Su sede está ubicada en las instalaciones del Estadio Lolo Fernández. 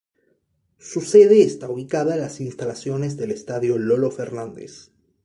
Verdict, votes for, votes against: rejected, 0, 2